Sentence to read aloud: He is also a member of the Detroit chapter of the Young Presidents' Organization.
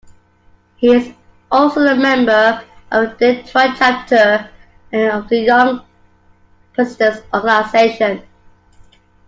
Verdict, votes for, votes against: rejected, 0, 2